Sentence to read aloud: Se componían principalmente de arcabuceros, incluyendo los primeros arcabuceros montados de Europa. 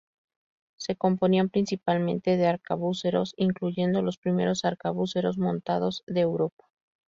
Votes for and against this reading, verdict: 0, 2, rejected